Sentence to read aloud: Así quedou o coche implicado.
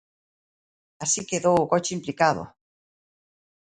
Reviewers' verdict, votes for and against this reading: accepted, 3, 0